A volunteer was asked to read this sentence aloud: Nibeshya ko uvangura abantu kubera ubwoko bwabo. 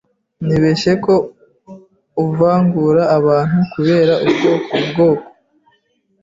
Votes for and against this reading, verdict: 1, 2, rejected